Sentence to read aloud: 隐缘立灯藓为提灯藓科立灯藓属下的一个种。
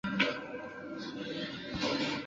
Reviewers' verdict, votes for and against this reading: rejected, 0, 2